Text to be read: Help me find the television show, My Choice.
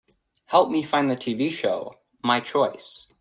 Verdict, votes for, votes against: rejected, 0, 3